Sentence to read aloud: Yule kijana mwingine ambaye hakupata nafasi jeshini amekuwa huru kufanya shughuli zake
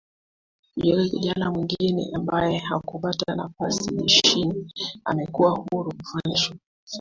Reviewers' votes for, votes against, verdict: 2, 1, accepted